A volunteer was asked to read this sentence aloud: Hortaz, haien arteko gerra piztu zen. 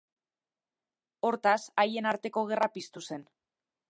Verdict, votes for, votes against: accepted, 2, 0